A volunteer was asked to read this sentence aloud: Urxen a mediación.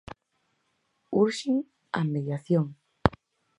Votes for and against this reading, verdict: 4, 0, accepted